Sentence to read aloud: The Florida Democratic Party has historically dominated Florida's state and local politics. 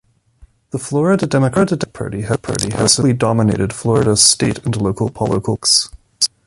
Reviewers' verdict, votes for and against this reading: rejected, 0, 2